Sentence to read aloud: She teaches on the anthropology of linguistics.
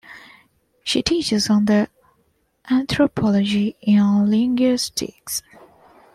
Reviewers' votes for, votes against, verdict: 1, 2, rejected